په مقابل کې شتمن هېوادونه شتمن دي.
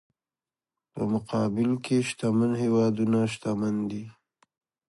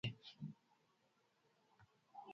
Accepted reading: first